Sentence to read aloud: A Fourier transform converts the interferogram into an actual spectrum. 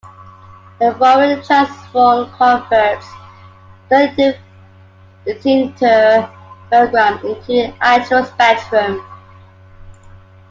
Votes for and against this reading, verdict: 0, 2, rejected